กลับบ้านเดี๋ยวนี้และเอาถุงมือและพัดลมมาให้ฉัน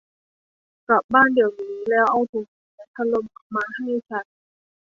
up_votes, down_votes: 2, 3